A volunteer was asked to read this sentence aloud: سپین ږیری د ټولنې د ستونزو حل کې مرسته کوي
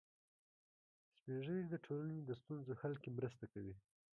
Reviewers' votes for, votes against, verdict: 2, 0, accepted